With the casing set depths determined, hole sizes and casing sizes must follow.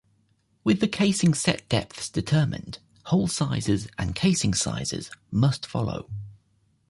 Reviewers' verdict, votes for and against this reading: accepted, 2, 0